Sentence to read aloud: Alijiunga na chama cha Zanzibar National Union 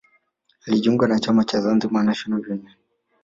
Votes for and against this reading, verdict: 2, 0, accepted